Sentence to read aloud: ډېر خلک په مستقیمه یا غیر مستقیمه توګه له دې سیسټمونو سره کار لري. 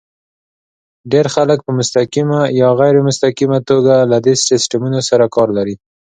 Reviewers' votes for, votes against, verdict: 2, 0, accepted